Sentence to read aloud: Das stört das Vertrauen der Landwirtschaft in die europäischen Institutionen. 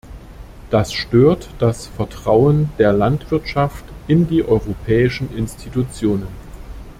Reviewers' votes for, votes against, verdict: 2, 0, accepted